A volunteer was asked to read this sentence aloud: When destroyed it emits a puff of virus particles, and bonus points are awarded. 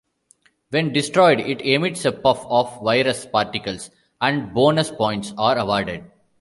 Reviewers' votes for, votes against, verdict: 2, 0, accepted